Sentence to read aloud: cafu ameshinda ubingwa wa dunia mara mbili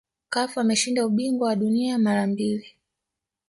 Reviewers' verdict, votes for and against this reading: accepted, 2, 0